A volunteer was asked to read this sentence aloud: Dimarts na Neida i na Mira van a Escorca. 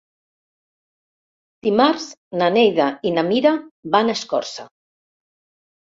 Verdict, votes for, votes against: rejected, 1, 2